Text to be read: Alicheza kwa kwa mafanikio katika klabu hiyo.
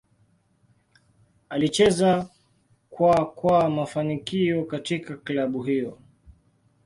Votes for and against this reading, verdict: 1, 2, rejected